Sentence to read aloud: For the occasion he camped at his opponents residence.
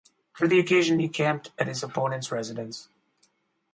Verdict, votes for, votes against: accepted, 2, 0